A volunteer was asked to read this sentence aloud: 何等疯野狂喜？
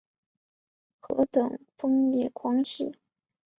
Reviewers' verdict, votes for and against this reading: accepted, 4, 0